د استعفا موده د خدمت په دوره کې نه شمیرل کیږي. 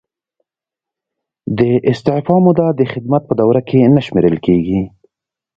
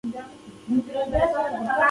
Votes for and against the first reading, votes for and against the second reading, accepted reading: 2, 0, 1, 2, first